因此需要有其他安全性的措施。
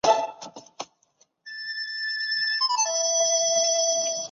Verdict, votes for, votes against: rejected, 1, 2